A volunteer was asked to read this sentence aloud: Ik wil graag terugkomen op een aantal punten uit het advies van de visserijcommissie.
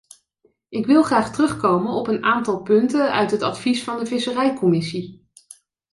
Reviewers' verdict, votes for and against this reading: accepted, 2, 0